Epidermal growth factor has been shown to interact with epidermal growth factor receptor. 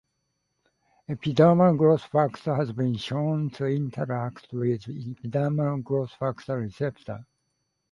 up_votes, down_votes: 2, 3